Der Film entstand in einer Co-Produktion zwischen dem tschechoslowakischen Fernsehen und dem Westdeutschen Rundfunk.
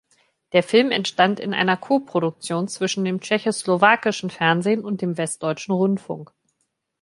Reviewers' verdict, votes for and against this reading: accepted, 2, 1